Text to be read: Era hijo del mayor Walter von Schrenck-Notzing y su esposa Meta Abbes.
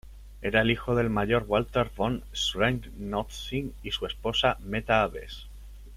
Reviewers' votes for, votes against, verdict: 0, 2, rejected